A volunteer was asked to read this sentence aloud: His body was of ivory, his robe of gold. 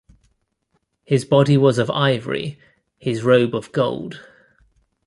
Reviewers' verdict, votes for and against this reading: accepted, 2, 0